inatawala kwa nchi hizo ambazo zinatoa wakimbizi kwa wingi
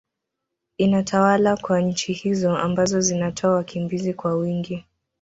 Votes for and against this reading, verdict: 0, 2, rejected